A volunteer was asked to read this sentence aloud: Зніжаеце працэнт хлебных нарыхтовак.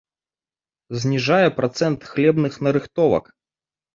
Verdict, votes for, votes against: rejected, 1, 2